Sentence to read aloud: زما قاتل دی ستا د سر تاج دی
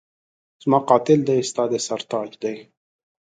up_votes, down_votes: 2, 0